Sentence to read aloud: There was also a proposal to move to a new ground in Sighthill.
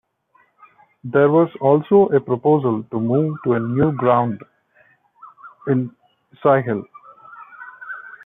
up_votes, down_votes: 3, 0